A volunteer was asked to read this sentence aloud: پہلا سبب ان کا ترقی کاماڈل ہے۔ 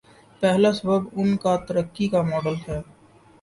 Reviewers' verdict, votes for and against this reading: accepted, 2, 0